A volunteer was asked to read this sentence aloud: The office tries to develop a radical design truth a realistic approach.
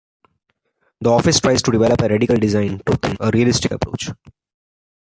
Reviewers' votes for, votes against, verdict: 1, 2, rejected